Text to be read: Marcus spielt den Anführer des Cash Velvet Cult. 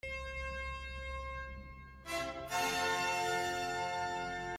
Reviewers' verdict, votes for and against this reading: rejected, 0, 2